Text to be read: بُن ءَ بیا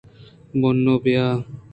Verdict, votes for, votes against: rejected, 1, 2